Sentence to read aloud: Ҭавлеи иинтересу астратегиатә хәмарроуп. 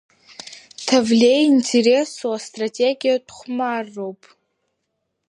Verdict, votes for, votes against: accepted, 2, 1